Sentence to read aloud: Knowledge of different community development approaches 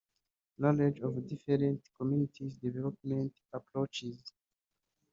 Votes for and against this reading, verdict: 2, 0, accepted